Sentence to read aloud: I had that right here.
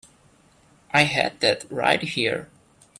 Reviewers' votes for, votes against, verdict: 3, 0, accepted